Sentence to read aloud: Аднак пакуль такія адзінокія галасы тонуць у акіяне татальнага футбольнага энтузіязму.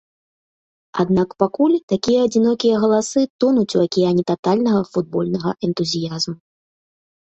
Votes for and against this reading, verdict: 2, 0, accepted